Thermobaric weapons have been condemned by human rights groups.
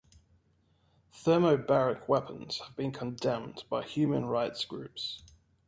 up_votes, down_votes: 2, 1